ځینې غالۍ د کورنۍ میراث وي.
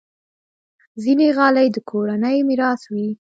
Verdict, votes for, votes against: accepted, 2, 0